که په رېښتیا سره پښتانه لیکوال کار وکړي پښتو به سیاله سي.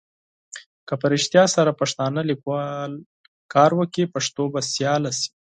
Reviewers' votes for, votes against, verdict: 4, 0, accepted